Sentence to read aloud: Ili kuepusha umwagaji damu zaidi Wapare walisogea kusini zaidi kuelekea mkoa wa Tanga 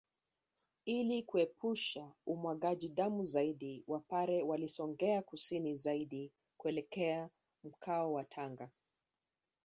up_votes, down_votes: 0, 2